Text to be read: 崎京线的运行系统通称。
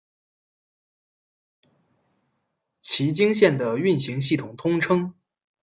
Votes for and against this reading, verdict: 2, 0, accepted